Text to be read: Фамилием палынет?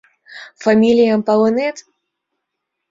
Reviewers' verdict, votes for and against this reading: accepted, 2, 0